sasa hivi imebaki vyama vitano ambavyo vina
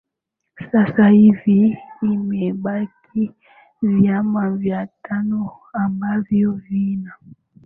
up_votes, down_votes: 1, 2